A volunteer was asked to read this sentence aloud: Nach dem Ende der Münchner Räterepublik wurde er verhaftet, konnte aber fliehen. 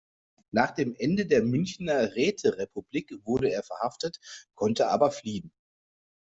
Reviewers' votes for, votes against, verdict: 2, 0, accepted